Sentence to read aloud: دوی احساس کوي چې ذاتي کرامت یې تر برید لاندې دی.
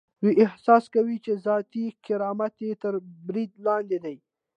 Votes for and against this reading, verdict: 2, 0, accepted